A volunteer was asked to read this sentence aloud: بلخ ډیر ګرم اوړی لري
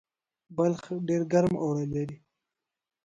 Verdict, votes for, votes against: rejected, 0, 2